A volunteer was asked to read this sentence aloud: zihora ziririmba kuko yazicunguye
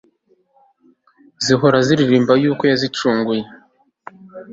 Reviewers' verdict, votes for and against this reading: rejected, 1, 2